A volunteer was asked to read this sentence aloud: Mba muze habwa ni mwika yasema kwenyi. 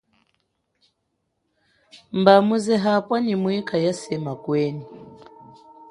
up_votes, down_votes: 2, 0